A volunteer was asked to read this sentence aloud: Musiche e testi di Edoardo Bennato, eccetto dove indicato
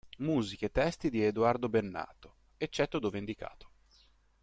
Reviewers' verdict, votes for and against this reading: accepted, 2, 0